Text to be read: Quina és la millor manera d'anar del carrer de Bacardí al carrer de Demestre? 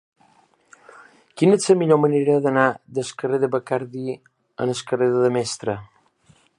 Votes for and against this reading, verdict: 0, 2, rejected